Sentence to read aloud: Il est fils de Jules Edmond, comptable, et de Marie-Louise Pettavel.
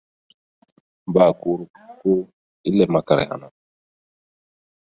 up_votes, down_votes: 0, 2